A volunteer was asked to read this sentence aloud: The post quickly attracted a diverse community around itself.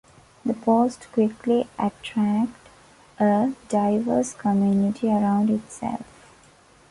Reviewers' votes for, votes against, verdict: 1, 2, rejected